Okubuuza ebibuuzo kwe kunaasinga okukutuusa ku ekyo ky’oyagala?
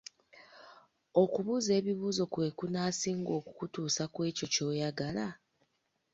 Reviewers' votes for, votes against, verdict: 2, 0, accepted